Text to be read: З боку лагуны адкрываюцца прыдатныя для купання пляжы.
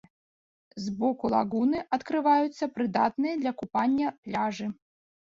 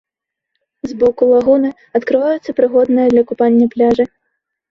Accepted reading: first